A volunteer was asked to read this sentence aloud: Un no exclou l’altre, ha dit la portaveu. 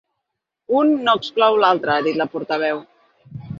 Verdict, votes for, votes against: accepted, 2, 0